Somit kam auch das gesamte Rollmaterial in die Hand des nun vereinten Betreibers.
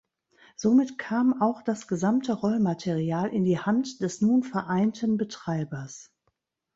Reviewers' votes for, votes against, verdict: 1, 2, rejected